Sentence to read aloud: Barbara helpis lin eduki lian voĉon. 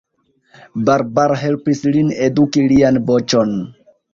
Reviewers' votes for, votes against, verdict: 0, 2, rejected